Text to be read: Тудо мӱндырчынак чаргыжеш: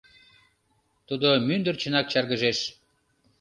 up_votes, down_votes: 2, 0